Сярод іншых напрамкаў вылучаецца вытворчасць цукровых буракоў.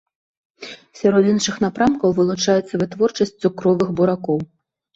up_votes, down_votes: 2, 0